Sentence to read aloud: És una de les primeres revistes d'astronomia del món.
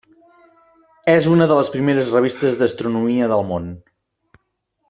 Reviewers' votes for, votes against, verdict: 4, 0, accepted